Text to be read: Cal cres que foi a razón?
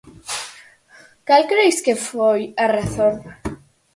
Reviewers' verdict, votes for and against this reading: accepted, 4, 2